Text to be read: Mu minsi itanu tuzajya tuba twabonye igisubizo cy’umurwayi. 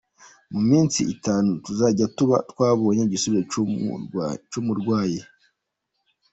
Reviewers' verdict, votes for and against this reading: rejected, 0, 2